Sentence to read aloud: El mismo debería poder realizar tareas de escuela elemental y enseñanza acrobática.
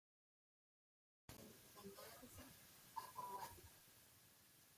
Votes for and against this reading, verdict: 0, 2, rejected